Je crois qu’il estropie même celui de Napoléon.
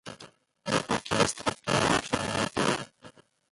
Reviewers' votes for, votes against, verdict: 0, 2, rejected